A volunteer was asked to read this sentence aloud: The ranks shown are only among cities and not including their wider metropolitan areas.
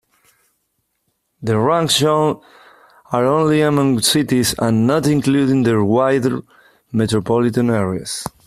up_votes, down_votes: 3, 1